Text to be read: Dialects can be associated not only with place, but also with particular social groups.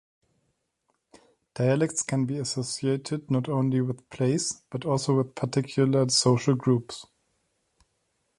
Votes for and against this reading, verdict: 2, 0, accepted